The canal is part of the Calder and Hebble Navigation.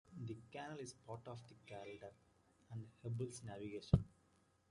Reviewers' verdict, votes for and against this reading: rejected, 1, 2